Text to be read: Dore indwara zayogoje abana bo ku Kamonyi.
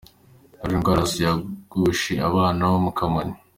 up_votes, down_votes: 0, 2